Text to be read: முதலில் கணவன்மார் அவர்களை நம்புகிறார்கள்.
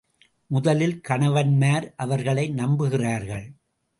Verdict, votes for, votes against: accepted, 2, 0